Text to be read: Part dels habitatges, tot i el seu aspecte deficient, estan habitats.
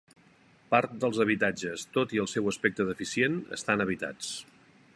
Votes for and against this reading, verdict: 3, 0, accepted